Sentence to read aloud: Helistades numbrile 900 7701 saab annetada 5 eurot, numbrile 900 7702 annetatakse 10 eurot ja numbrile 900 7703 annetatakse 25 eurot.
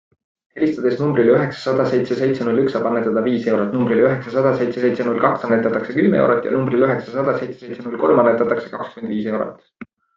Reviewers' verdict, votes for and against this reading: rejected, 0, 2